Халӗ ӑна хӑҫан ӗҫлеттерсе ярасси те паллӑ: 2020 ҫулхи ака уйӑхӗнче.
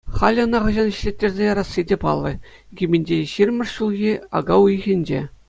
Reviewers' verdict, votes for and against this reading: rejected, 0, 2